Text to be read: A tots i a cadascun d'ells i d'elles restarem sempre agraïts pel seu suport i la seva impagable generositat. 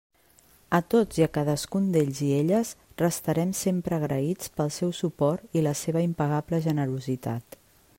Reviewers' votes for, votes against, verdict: 1, 2, rejected